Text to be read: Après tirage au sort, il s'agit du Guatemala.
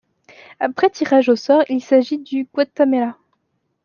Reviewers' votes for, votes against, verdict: 0, 2, rejected